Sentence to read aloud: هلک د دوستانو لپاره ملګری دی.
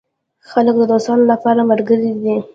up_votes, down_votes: 0, 2